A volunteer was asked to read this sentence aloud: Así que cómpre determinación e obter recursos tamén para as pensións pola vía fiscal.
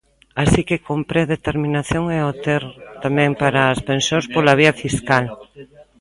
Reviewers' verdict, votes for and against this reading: rejected, 0, 2